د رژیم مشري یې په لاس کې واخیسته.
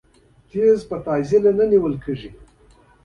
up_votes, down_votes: 2, 0